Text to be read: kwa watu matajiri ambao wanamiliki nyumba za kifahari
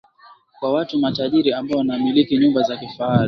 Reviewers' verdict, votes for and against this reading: rejected, 1, 2